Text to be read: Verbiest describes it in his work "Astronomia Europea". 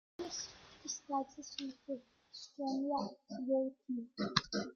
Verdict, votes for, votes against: rejected, 0, 2